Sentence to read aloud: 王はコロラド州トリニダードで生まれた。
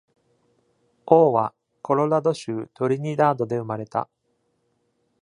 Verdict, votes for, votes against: accepted, 2, 0